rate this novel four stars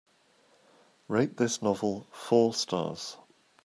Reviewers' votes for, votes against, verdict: 2, 0, accepted